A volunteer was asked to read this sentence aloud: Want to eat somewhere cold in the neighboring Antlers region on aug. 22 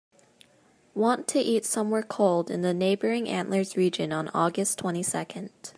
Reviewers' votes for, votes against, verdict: 0, 2, rejected